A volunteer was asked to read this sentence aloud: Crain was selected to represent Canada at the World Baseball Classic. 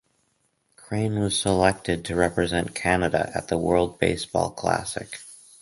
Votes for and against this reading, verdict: 2, 0, accepted